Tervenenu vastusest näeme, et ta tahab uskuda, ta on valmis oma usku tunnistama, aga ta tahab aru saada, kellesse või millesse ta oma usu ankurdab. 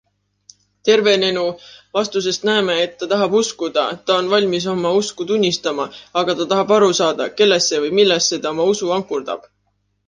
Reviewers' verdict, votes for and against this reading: accepted, 2, 0